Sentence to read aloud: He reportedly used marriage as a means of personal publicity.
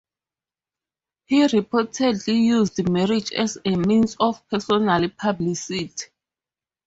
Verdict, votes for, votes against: rejected, 0, 2